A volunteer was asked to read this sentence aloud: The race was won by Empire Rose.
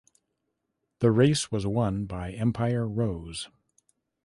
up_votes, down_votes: 2, 0